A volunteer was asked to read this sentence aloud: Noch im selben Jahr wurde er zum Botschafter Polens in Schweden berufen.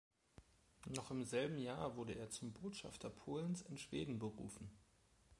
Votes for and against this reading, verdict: 1, 2, rejected